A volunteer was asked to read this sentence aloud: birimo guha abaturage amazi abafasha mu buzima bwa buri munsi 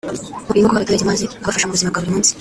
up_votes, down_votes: 0, 2